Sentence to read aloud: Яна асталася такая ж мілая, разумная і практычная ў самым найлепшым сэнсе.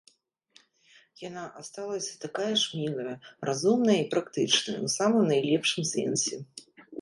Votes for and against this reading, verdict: 2, 0, accepted